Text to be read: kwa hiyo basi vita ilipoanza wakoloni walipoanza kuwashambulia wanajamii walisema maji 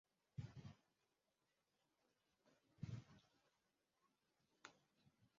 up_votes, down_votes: 0, 2